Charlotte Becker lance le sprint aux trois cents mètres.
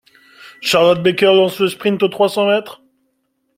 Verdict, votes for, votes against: accepted, 2, 0